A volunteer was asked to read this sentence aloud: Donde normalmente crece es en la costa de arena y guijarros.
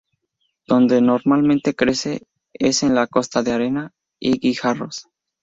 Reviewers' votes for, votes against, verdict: 2, 0, accepted